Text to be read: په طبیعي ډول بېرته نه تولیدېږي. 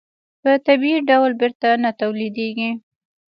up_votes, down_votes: 0, 2